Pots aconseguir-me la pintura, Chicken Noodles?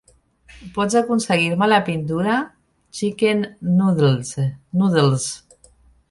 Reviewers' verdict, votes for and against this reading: rejected, 0, 2